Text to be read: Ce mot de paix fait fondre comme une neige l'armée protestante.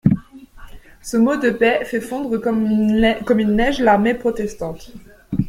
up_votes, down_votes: 0, 2